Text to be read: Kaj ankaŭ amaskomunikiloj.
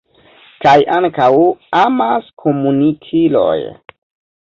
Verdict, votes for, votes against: rejected, 1, 2